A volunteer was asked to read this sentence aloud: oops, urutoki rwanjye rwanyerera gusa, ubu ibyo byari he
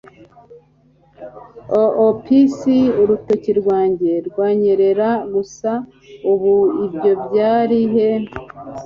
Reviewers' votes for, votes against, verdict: 2, 0, accepted